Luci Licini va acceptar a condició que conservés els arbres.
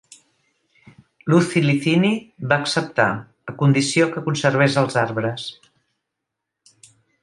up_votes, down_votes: 1, 2